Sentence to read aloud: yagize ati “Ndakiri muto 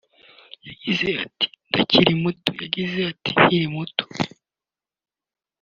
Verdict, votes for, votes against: rejected, 1, 3